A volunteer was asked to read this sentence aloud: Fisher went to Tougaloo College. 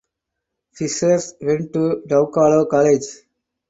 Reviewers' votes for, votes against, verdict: 0, 4, rejected